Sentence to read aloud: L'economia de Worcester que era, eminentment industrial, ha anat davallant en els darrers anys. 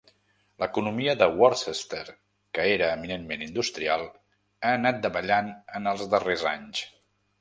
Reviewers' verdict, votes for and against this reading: accepted, 2, 0